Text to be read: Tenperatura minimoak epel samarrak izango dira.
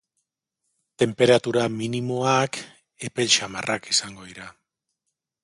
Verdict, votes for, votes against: accepted, 2, 0